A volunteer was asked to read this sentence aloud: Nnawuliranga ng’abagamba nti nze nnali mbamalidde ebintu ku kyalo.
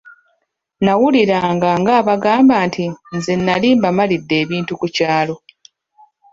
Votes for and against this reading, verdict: 0, 2, rejected